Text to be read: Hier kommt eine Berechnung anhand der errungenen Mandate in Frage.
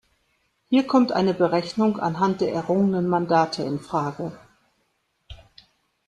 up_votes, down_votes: 2, 0